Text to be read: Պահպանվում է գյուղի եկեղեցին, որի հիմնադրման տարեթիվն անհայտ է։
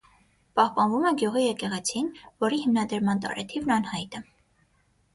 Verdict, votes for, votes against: accepted, 9, 0